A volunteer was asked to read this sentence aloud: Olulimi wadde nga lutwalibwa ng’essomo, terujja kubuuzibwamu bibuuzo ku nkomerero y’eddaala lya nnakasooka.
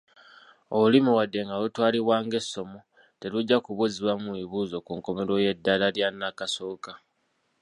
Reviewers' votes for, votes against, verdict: 2, 0, accepted